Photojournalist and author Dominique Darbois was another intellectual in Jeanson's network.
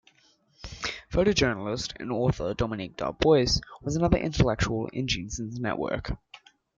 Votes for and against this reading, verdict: 2, 0, accepted